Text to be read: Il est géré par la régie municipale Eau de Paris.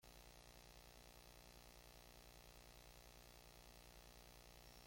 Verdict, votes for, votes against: rejected, 0, 2